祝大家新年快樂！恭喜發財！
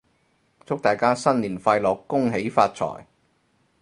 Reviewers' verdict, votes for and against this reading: accepted, 4, 0